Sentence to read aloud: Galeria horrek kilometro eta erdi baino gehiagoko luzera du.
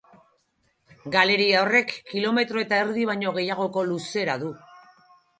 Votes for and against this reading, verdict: 6, 2, accepted